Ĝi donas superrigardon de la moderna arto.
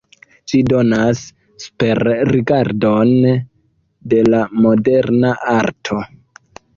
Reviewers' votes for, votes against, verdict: 2, 0, accepted